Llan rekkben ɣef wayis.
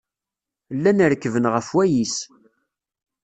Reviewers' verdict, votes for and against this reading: accepted, 2, 0